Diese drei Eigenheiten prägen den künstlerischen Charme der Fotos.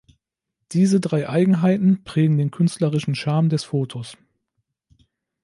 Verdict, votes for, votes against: rejected, 1, 2